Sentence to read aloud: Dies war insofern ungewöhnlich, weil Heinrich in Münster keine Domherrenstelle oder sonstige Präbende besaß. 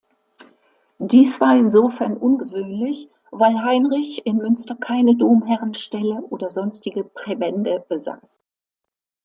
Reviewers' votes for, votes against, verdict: 2, 1, accepted